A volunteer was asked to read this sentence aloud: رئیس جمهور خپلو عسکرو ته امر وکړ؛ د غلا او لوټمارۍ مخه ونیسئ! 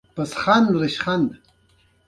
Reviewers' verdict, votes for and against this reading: accepted, 2, 0